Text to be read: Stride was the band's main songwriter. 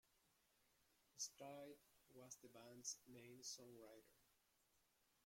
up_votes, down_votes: 0, 2